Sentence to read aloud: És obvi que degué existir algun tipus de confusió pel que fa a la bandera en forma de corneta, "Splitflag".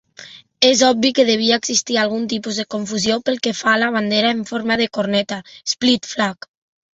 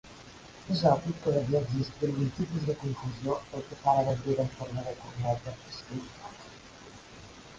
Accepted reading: first